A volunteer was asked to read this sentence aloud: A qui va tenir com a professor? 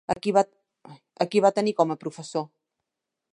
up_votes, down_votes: 0, 2